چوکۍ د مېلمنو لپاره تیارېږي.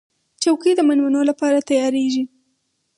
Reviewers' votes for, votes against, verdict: 4, 0, accepted